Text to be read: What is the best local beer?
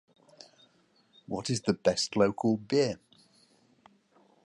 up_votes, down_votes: 2, 0